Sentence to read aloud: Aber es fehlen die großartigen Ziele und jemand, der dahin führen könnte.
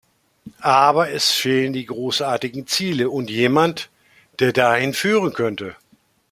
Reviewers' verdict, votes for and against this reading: accepted, 2, 0